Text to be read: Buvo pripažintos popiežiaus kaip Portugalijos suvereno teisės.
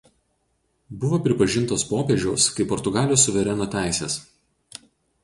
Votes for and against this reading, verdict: 4, 0, accepted